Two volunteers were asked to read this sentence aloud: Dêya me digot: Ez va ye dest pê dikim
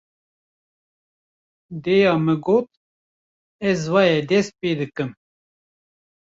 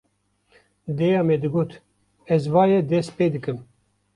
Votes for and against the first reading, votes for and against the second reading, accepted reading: 1, 2, 2, 0, second